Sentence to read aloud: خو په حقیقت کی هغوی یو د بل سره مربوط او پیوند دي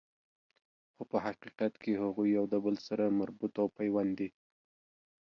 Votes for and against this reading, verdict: 2, 0, accepted